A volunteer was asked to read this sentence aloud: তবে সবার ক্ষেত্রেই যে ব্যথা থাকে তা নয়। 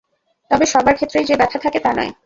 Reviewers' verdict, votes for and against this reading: accepted, 2, 0